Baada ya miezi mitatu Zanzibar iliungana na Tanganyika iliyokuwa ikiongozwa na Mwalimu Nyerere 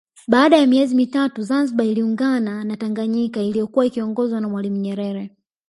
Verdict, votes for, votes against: rejected, 1, 2